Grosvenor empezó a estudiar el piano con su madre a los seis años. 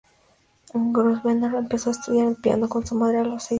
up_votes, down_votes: 2, 4